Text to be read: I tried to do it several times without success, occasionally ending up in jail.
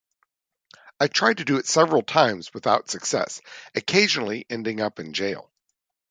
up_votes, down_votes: 2, 0